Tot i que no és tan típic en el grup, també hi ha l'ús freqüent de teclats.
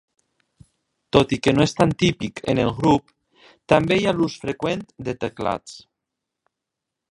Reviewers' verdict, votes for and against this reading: rejected, 2, 3